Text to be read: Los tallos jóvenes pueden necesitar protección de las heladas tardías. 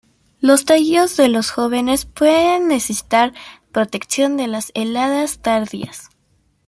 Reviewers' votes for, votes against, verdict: 0, 2, rejected